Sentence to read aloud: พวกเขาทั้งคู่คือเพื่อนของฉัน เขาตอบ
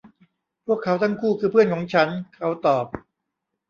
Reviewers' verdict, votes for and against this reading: accepted, 2, 0